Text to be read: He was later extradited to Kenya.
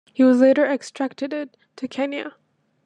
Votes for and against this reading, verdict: 1, 2, rejected